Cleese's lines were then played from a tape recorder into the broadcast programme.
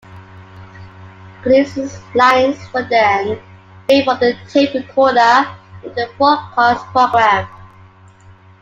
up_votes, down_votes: 0, 2